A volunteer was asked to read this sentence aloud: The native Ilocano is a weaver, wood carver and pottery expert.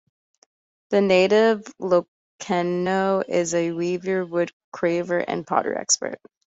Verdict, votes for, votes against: rejected, 0, 2